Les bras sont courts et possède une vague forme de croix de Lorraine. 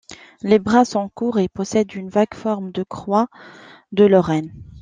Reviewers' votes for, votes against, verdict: 2, 0, accepted